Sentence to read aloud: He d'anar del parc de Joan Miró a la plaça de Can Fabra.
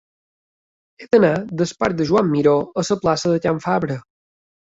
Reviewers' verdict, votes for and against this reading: rejected, 1, 2